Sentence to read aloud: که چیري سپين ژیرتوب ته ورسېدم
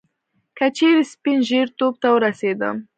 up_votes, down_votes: 4, 2